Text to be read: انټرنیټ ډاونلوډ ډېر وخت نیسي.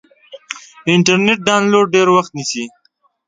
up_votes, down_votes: 2, 0